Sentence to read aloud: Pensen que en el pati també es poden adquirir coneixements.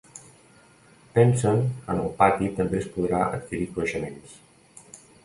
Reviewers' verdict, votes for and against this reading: rejected, 1, 2